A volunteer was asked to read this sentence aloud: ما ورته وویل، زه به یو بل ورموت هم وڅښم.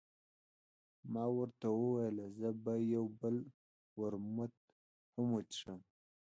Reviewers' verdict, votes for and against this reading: rejected, 1, 2